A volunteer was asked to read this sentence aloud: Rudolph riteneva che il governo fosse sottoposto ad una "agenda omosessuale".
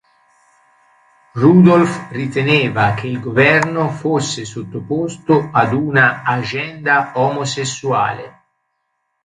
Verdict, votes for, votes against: rejected, 2, 3